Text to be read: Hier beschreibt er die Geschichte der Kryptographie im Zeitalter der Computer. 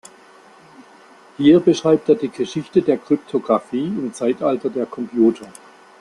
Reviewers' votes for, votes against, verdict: 2, 0, accepted